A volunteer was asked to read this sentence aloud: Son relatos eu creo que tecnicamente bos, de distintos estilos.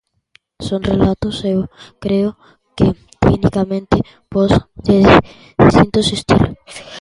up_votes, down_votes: 0, 2